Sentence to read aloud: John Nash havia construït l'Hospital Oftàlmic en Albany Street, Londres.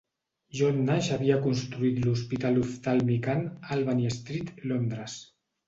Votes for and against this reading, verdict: 0, 3, rejected